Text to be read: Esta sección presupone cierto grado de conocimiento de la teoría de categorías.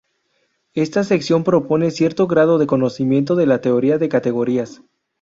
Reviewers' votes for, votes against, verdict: 0, 2, rejected